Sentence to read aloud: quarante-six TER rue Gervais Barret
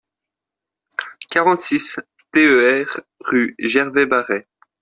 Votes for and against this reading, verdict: 0, 2, rejected